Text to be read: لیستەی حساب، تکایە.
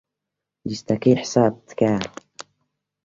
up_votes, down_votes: 3, 1